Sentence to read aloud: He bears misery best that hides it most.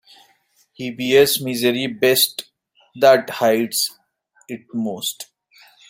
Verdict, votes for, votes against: rejected, 0, 2